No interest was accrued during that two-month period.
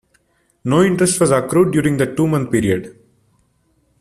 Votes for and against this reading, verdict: 2, 1, accepted